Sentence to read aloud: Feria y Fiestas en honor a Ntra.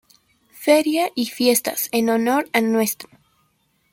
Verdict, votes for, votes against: rejected, 0, 2